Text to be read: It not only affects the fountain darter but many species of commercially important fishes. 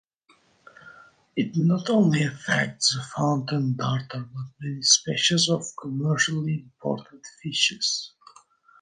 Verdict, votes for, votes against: rejected, 0, 2